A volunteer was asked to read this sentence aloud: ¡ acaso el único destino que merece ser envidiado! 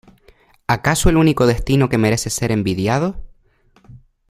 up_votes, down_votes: 1, 2